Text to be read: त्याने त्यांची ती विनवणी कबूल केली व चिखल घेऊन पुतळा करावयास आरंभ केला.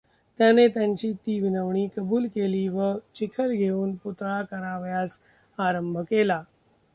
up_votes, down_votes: 1, 2